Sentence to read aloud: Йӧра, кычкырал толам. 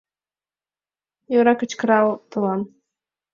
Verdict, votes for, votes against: accepted, 2, 0